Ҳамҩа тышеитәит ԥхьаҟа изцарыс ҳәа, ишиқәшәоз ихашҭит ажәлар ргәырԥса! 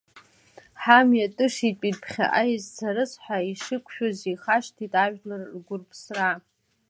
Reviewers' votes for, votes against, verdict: 1, 2, rejected